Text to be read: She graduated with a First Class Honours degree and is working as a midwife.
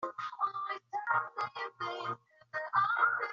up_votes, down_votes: 0, 2